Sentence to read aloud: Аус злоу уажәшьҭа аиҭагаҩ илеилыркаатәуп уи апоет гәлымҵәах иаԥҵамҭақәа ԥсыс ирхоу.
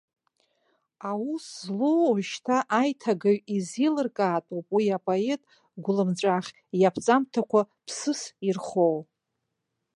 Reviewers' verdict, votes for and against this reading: rejected, 2, 3